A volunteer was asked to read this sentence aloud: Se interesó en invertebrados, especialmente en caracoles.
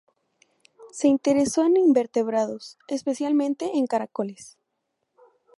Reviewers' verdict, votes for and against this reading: accepted, 2, 0